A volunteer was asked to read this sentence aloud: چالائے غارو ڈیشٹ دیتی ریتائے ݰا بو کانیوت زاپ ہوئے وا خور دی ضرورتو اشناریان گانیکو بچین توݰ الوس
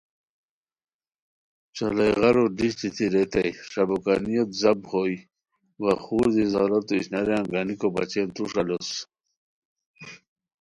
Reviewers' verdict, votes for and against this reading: accepted, 2, 0